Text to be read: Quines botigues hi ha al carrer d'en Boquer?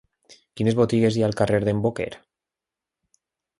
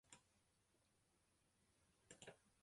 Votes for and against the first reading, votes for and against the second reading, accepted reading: 2, 0, 0, 2, first